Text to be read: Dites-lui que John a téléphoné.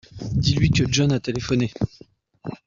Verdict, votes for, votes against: rejected, 1, 2